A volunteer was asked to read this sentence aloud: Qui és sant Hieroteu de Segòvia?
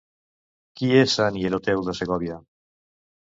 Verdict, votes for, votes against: rejected, 0, 2